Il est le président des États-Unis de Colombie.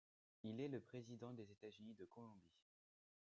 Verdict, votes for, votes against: rejected, 1, 2